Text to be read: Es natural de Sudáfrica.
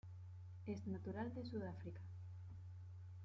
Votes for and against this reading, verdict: 1, 2, rejected